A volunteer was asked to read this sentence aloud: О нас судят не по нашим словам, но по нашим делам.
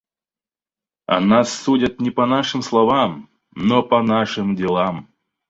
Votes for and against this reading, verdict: 4, 0, accepted